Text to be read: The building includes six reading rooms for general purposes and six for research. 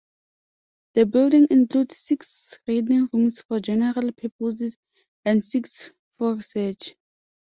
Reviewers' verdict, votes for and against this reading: accepted, 2, 0